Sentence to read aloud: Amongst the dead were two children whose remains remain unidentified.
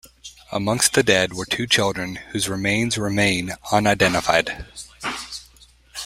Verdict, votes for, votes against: rejected, 0, 2